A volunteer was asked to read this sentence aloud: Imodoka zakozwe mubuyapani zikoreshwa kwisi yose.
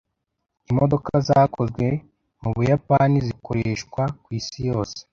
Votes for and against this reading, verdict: 2, 0, accepted